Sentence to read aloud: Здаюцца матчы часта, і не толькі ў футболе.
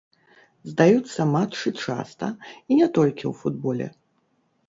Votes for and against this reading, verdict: 0, 2, rejected